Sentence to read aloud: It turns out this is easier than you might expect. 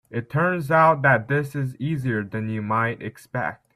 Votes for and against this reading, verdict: 1, 2, rejected